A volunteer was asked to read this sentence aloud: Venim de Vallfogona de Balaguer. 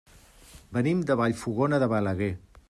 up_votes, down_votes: 3, 0